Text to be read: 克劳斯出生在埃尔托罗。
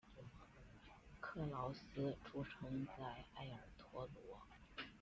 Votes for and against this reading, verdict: 1, 2, rejected